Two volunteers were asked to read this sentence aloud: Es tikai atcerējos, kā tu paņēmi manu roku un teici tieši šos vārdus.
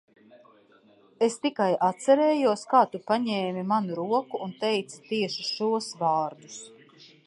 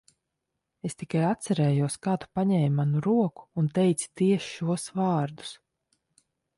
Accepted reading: second